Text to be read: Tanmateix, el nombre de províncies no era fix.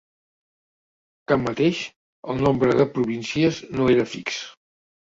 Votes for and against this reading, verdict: 2, 0, accepted